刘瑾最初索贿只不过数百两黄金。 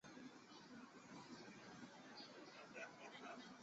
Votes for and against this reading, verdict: 0, 2, rejected